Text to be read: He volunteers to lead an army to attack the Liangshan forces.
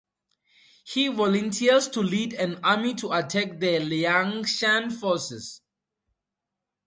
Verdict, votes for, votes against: accepted, 4, 0